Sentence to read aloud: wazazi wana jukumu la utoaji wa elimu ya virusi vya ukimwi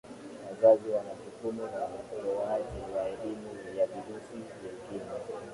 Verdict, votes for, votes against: rejected, 0, 2